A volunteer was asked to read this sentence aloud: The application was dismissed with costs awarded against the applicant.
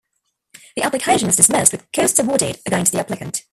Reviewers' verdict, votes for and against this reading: rejected, 2, 3